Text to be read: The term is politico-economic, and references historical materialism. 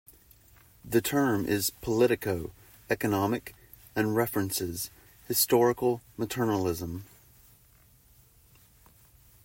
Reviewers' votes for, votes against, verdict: 2, 1, accepted